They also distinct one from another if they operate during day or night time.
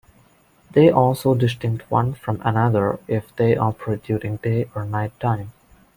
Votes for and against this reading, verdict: 2, 0, accepted